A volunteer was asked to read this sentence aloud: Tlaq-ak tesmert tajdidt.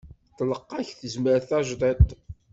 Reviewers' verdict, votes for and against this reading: rejected, 1, 2